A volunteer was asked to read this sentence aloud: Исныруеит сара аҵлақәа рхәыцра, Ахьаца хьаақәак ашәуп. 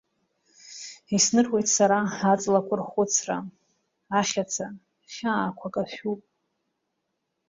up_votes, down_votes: 2, 0